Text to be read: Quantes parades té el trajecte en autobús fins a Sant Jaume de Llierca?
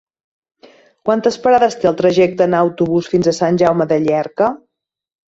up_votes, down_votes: 1, 2